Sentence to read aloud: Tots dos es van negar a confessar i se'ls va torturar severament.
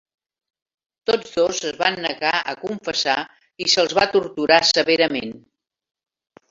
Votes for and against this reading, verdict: 2, 0, accepted